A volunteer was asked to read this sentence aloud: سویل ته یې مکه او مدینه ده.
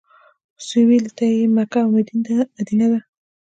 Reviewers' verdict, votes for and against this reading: accepted, 2, 0